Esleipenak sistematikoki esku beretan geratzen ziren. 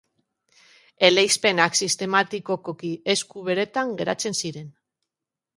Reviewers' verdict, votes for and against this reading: rejected, 0, 2